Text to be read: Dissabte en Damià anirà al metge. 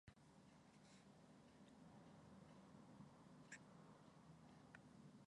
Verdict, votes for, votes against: rejected, 0, 2